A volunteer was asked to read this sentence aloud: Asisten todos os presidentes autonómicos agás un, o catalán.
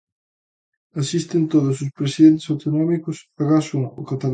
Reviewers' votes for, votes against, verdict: 0, 2, rejected